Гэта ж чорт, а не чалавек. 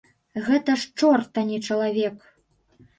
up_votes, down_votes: 2, 0